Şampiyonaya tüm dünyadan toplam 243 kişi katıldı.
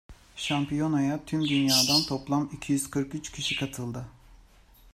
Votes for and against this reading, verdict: 0, 2, rejected